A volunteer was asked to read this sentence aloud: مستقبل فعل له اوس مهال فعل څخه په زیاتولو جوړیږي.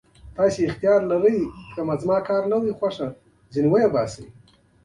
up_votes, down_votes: 0, 2